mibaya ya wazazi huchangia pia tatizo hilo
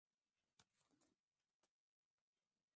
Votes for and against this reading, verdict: 0, 2, rejected